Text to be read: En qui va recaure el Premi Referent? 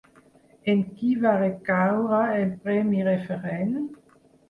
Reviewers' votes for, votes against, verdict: 4, 0, accepted